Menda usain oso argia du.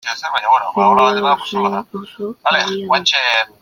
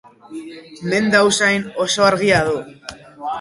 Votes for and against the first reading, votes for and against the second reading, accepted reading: 0, 2, 6, 2, second